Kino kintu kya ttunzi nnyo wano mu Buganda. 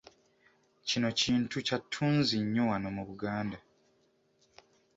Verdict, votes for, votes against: accepted, 2, 0